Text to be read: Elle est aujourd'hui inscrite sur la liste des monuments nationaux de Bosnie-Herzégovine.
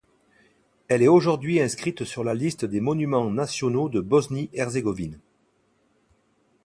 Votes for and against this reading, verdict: 2, 0, accepted